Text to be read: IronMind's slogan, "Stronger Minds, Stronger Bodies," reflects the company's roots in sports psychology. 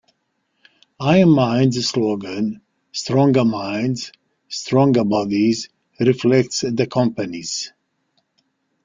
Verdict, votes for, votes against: rejected, 0, 2